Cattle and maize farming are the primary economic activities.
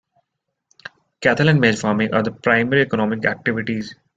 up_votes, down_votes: 2, 1